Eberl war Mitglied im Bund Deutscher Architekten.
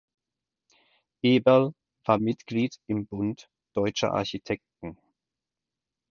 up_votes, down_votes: 4, 0